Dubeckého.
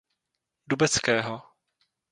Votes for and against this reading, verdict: 0, 2, rejected